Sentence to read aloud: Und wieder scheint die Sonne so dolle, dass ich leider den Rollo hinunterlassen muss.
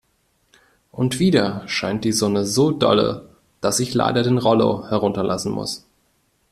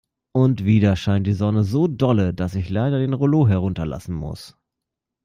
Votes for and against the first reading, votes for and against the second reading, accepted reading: 1, 2, 2, 0, second